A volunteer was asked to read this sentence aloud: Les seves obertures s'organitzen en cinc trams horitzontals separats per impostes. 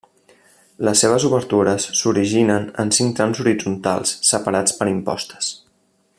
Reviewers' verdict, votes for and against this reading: rejected, 0, 2